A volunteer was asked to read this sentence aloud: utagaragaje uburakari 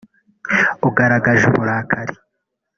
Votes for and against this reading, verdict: 0, 3, rejected